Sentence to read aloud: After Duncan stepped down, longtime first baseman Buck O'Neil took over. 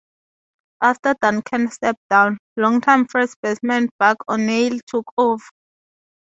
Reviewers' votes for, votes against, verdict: 0, 2, rejected